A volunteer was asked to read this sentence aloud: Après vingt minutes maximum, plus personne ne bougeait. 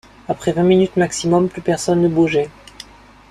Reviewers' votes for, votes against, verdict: 2, 0, accepted